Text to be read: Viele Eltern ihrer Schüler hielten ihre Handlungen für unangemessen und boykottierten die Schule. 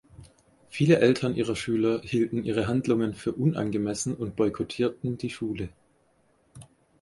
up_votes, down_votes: 4, 0